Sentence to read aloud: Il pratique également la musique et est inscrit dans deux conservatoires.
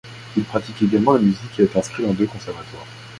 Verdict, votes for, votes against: accepted, 2, 1